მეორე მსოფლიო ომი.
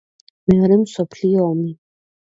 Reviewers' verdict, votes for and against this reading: accepted, 2, 0